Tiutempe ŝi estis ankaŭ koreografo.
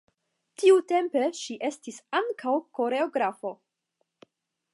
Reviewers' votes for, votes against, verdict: 10, 0, accepted